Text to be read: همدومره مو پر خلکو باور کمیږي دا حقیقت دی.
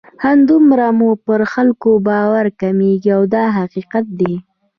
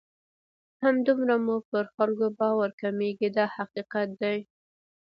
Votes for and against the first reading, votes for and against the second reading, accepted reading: 0, 2, 2, 0, second